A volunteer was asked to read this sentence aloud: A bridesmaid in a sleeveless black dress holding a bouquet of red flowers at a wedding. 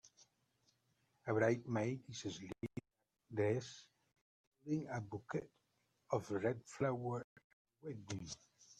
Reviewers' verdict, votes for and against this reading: rejected, 0, 4